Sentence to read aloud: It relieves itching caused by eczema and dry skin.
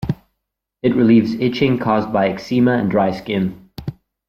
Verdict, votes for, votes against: rejected, 0, 2